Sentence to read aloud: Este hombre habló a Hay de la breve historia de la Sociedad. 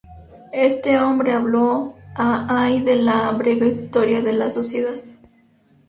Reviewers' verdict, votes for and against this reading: accepted, 2, 0